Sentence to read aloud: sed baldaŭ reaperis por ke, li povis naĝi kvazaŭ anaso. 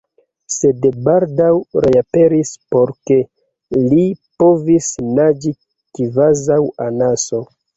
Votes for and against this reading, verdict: 2, 1, accepted